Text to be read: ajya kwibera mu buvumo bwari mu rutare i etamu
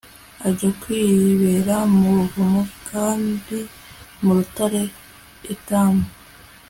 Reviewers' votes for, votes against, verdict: 3, 0, accepted